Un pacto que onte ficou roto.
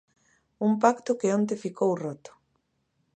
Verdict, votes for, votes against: accepted, 2, 0